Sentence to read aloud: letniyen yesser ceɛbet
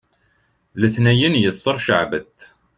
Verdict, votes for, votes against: accepted, 2, 1